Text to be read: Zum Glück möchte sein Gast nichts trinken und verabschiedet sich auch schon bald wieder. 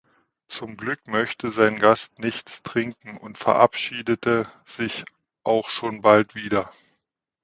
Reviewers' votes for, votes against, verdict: 0, 2, rejected